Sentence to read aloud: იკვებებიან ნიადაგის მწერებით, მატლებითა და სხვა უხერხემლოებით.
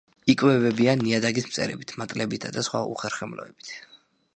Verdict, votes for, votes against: accepted, 2, 0